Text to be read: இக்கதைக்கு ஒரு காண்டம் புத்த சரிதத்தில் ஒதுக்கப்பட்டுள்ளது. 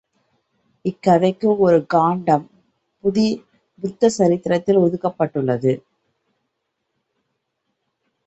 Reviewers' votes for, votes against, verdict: 0, 2, rejected